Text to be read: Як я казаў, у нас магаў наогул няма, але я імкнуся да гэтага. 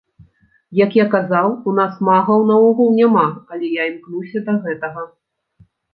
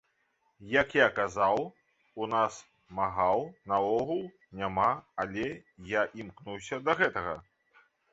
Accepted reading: first